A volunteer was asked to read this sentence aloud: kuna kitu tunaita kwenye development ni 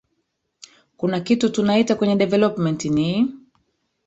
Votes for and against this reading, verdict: 1, 2, rejected